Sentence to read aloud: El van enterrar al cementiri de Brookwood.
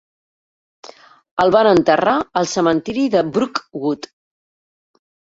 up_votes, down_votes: 1, 2